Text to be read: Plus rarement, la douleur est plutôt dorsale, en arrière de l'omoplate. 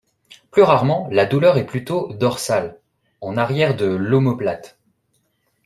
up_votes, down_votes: 2, 0